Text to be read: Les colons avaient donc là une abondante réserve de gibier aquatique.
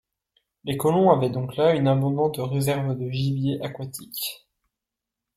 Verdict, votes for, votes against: accepted, 2, 0